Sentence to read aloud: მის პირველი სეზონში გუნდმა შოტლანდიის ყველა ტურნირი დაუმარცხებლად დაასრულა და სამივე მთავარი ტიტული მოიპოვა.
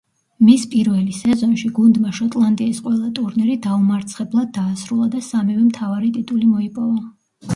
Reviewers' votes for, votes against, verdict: 1, 2, rejected